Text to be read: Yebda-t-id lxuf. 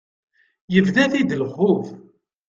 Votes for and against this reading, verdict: 2, 0, accepted